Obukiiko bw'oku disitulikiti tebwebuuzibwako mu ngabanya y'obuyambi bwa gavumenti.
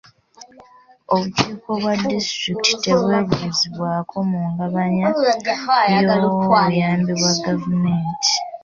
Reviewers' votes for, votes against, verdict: 2, 0, accepted